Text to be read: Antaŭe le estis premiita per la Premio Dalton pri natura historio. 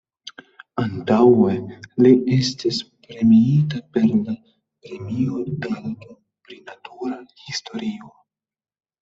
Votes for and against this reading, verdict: 1, 2, rejected